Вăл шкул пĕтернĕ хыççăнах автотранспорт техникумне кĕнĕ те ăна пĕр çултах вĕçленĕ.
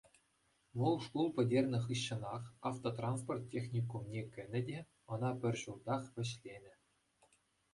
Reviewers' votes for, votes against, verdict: 2, 0, accepted